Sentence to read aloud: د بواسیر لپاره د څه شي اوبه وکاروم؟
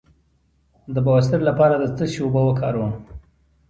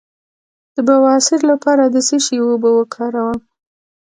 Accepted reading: first